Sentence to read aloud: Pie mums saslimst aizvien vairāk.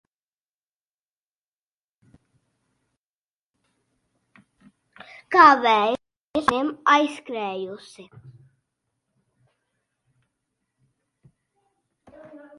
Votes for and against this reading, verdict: 0, 2, rejected